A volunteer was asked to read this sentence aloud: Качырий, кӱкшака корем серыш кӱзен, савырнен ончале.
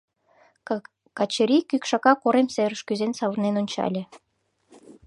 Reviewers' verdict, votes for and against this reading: rejected, 0, 2